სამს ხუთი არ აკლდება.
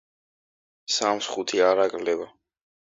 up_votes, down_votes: 3, 0